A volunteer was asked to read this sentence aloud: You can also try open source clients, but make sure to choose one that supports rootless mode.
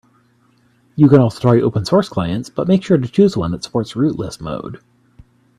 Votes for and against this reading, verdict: 2, 0, accepted